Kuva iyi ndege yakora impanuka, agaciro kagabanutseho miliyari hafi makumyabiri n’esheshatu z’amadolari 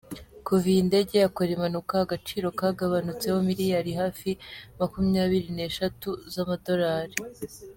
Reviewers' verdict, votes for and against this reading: rejected, 0, 2